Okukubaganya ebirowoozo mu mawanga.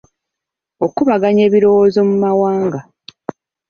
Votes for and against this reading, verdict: 0, 2, rejected